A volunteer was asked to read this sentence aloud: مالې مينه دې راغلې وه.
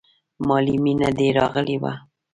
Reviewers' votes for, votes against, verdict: 1, 2, rejected